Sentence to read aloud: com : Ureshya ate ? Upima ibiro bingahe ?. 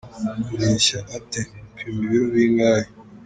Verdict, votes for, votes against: rejected, 1, 2